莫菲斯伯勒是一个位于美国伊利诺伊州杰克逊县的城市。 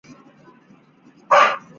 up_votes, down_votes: 0, 4